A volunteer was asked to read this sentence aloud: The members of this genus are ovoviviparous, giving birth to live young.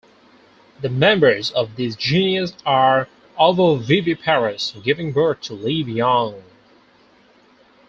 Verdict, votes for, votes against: accepted, 4, 2